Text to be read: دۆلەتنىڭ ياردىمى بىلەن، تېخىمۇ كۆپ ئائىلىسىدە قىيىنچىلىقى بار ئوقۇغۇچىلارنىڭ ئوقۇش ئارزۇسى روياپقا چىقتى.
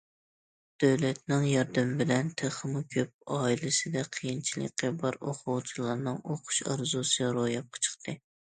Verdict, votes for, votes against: accepted, 2, 0